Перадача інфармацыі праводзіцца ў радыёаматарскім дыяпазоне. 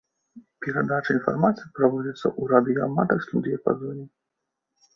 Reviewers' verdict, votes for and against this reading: accepted, 2, 0